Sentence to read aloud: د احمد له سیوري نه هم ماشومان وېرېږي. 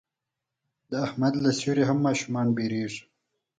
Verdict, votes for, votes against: accepted, 4, 0